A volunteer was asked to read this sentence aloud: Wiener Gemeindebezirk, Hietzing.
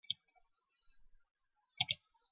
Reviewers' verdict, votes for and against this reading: rejected, 0, 2